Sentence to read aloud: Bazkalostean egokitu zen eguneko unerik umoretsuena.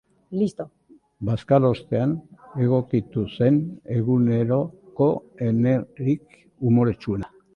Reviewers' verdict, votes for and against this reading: rejected, 0, 2